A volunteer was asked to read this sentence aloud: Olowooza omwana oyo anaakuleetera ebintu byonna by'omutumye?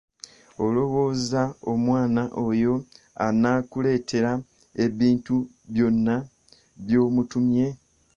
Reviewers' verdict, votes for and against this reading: accepted, 2, 0